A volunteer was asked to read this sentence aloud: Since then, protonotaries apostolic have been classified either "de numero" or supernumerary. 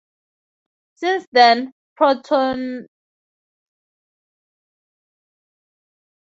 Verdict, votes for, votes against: rejected, 0, 4